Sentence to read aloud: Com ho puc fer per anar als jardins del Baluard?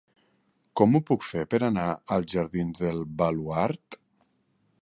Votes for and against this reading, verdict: 2, 0, accepted